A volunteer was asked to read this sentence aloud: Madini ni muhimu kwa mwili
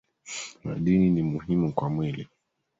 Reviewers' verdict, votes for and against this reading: accepted, 2, 1